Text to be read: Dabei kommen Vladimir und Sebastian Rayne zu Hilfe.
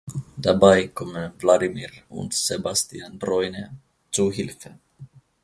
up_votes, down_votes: 0, 2